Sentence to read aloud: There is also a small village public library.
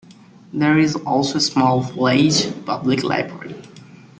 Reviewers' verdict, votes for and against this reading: rejected, 0, 2